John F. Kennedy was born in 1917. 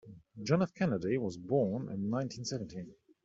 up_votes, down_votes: 0, 2